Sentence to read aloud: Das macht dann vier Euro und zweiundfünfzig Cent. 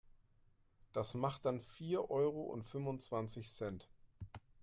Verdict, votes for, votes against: rejected, 0, 2